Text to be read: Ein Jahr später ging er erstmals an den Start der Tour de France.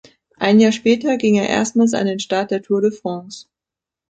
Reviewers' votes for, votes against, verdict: 2, 0, accepted